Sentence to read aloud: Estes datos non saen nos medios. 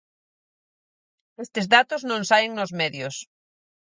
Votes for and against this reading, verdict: 4, 0, accepted